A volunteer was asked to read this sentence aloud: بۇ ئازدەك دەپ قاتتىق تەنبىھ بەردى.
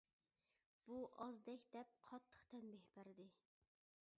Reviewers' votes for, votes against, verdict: 2, 0, accepted